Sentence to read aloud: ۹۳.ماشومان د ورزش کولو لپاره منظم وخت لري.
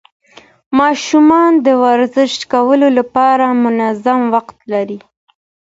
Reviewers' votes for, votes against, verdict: 0, 2, rejected